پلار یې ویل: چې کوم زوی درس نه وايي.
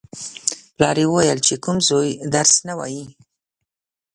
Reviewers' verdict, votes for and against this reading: accepted, 2, 0